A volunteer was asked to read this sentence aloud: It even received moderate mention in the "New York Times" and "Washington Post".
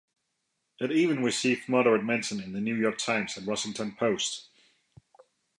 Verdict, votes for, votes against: rejected, 1, 2